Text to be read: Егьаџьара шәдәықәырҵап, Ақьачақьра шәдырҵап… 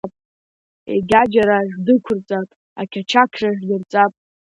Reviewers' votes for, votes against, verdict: 2, 0, accepted